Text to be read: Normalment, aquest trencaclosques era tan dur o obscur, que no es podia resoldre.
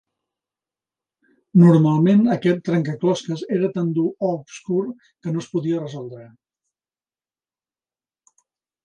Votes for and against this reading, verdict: 4, 0, accepted